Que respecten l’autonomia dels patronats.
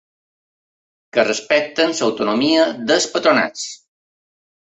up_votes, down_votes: 1, 2